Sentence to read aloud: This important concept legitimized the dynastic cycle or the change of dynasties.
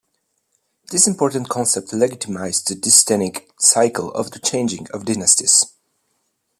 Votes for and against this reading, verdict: 1, 2, rejected